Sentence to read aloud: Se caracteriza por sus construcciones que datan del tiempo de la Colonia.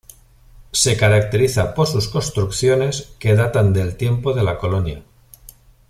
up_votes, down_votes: 2, 0